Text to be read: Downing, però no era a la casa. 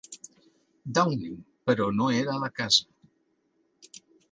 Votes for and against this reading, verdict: 3, 1, accepted